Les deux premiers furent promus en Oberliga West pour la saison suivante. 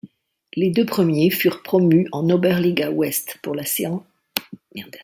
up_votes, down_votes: 1, 2